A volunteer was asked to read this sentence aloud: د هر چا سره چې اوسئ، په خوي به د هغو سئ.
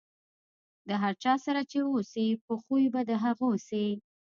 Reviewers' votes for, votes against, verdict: 2, 0, accepted